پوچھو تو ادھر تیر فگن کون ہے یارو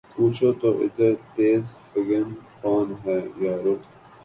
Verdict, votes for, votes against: accepted, 5, 1